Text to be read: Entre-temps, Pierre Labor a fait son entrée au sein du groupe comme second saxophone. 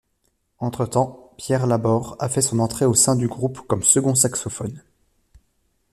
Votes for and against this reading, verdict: 2, 0, accepted